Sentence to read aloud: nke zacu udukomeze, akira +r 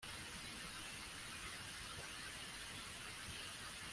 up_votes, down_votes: 0, 2